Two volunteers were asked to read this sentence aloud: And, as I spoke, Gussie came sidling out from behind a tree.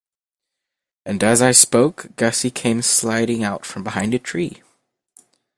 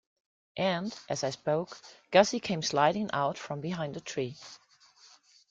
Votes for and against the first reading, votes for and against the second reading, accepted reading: 0, 2, 2, 1, second